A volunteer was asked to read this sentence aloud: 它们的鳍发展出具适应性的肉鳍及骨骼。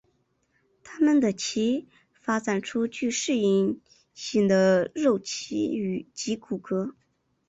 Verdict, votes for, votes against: rejected, 0, 2